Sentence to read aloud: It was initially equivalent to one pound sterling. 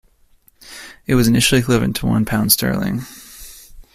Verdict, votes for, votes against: accepted, 2, 0